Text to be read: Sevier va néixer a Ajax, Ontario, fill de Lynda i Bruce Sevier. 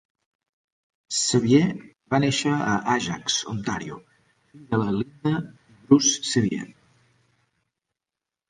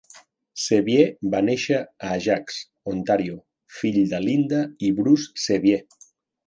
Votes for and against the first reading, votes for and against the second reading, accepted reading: 0, 3, 2, 0, second